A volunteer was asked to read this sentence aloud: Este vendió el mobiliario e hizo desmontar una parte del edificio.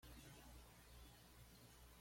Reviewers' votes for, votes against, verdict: 1, 2, rejected